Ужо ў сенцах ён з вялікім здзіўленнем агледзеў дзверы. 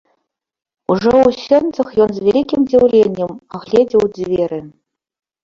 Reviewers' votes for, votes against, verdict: 2, 0, accepted